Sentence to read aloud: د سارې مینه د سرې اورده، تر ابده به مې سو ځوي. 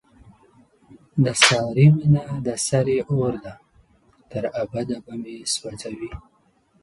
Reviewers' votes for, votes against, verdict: 2, 0, accepted